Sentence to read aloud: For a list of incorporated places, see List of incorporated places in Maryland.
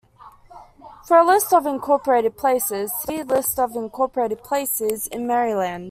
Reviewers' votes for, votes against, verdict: 2, 0, accepted